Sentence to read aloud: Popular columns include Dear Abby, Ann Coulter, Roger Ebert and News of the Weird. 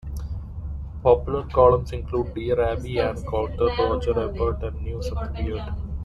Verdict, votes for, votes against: rejected, 0, 2